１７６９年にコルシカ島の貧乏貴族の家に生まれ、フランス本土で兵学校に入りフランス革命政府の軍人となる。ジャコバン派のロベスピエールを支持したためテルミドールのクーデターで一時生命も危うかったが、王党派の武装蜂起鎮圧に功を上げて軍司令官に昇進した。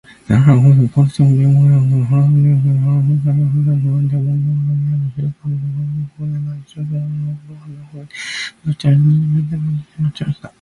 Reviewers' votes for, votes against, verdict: 0, 2, rejected